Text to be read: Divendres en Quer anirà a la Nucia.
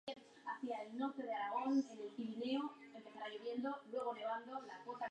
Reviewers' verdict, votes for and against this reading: rejected, 0, 3